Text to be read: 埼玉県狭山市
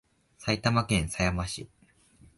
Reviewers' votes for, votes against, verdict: 7, 0, accepted